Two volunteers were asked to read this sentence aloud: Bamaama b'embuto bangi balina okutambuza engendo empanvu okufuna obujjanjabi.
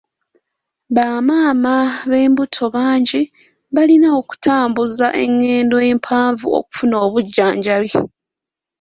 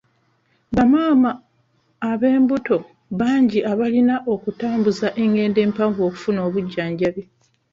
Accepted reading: first